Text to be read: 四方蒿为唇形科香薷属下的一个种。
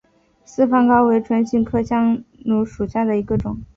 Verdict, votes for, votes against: rejected, 1, 2